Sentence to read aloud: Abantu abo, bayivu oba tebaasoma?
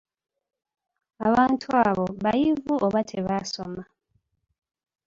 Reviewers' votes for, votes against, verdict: 3, 0, accepted